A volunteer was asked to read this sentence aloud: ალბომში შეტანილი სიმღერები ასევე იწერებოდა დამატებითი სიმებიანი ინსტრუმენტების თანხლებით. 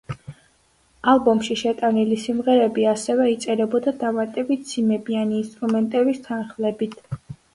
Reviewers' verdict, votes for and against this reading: accepted, 2, 0